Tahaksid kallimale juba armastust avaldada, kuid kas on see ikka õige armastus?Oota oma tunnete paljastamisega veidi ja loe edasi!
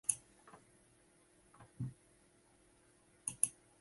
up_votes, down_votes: 0, 3